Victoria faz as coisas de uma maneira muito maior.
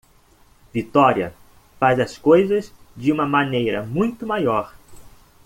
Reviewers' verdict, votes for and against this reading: accepted, 2, 1